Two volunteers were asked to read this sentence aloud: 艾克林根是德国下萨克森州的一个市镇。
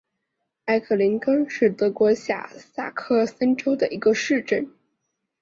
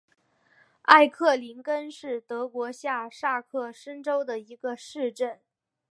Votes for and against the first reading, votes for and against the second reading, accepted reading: 4, 0, 0, 2, first